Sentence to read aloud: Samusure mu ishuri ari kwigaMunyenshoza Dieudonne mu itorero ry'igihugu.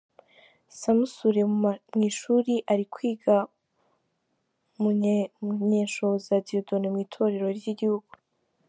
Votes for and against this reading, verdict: 0, 2, rejected